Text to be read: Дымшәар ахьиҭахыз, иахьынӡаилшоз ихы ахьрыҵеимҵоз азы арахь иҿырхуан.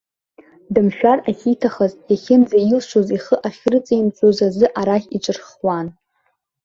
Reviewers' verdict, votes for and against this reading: rejected, 0, 2